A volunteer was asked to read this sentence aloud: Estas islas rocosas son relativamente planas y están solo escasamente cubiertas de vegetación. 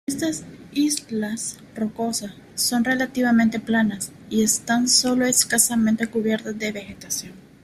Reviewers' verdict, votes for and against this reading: rejected, 1, 2